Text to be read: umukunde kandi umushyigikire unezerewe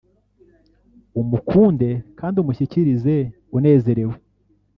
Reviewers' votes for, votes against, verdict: 1, 2, rejected